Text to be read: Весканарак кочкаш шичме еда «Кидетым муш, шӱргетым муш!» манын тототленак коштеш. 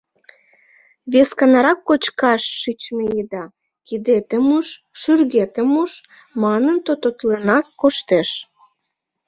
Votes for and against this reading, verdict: 2, 0, accepted